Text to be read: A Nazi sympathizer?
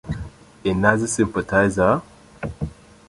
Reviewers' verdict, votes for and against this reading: rejected, 0, 2